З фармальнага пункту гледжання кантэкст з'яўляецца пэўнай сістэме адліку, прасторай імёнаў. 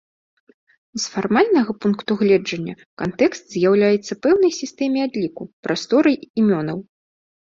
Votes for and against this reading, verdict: 2, 0, accepted